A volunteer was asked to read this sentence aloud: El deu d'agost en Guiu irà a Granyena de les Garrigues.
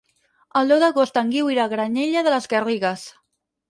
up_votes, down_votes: 0, 4